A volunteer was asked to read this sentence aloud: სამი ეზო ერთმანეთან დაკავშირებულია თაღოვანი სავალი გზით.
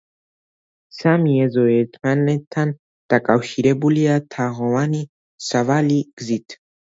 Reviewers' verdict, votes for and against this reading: rejected, 1, 2